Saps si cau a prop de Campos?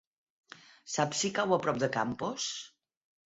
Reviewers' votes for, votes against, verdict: 8, 0, accepted